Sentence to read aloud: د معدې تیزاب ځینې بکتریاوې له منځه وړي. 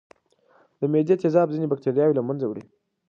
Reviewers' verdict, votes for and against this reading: accepted, 2, 0